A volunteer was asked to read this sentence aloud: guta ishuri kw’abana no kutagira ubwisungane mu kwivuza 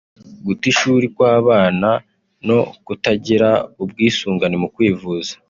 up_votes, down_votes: 4, 0